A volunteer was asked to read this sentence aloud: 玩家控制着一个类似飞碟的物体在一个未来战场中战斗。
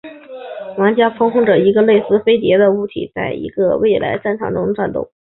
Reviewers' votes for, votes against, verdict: 2, 0, accepted